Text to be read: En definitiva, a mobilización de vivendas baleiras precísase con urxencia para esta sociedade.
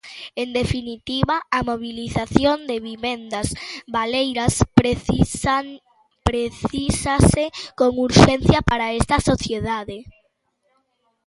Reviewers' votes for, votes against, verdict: 0, 2, rejected